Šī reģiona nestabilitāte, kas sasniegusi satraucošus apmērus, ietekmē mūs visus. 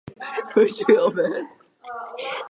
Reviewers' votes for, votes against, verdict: 0, 2, rejected